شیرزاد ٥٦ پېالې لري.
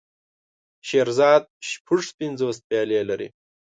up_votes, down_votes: 0, 2